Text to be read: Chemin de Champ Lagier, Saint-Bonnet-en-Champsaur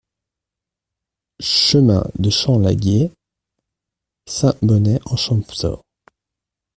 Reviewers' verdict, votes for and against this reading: rejected, 0, 2